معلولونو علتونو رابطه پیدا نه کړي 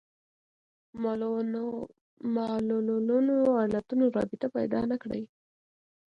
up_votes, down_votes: 2, 1